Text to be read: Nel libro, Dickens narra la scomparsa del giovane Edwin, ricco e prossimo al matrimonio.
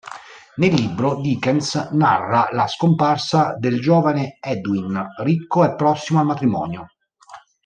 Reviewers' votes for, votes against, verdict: 2, 0, accepted